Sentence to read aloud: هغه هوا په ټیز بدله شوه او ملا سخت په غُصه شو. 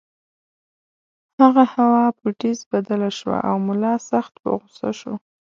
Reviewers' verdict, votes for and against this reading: accepted, 2, 0